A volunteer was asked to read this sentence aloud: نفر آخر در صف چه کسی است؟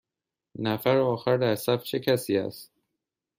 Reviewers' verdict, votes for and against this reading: accepted, 2, 0